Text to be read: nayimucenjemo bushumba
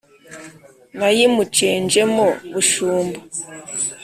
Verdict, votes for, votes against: accepted, 3, 0